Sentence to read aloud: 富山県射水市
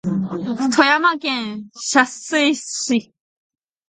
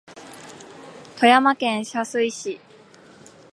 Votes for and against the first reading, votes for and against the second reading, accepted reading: 1, 2, 2, 1, second